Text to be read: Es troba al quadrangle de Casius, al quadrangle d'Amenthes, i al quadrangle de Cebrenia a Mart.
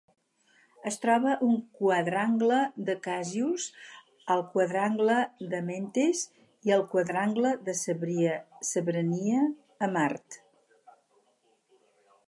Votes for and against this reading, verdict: 2, 2, rejected